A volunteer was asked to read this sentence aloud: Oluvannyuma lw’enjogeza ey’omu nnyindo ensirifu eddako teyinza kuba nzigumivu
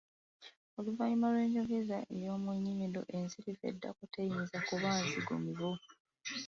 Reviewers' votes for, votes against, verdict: 3, 0, accepted